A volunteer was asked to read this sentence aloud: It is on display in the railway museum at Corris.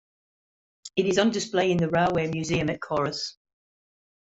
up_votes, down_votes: 2, 1